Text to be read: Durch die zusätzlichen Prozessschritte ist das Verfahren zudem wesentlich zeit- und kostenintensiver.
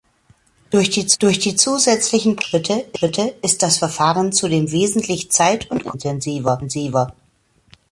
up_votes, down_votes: 0, 2